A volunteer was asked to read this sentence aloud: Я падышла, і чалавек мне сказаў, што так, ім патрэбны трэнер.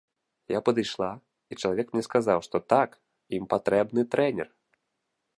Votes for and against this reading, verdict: 1, 2, rejected